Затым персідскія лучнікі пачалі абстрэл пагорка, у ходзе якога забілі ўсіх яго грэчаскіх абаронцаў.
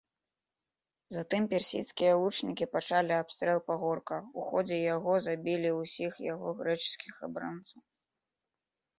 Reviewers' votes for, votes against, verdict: 0, 2, rejected